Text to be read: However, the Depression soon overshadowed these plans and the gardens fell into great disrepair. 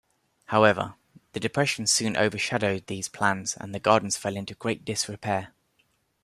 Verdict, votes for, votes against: accepted, 2, 0